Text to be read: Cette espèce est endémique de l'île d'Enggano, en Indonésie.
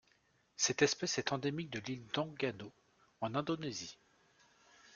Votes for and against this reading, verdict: 1, 2, rejected